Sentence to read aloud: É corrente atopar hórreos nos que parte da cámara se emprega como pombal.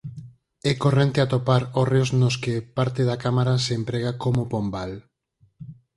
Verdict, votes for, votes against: accepted, 8, 0